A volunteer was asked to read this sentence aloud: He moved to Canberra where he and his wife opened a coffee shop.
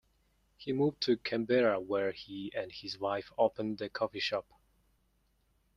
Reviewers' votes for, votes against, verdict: 2, 0, accepted